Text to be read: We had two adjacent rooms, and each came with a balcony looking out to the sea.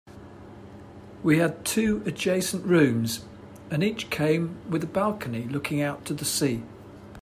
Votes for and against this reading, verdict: 2, 0, accepted